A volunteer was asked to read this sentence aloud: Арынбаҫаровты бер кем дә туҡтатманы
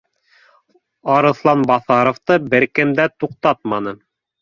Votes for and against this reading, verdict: 0, 2, rejected